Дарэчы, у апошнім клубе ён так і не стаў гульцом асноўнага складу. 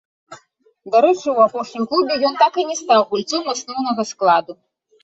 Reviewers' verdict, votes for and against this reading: rejected, 1, 2